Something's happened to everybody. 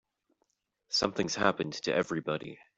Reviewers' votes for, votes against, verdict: 2, 0, accepted